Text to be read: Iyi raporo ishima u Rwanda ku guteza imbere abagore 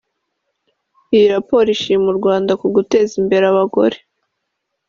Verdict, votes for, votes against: accepted, 4, 1